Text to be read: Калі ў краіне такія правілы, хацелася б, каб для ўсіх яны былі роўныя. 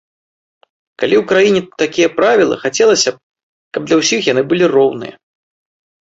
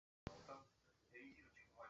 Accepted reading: first